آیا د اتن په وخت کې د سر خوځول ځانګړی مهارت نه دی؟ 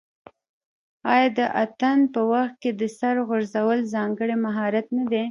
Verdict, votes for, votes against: rejected, 1, 2